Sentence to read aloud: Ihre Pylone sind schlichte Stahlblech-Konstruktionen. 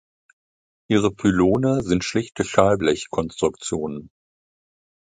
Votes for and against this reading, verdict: 2, 0, accepted